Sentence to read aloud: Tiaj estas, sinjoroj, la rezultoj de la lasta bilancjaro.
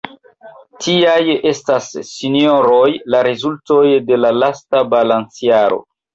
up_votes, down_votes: 0, 2